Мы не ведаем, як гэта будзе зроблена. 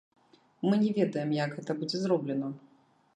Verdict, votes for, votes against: rejected, 1, 2